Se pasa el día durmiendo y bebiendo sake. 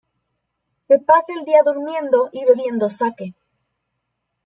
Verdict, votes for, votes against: rejected, 0, 2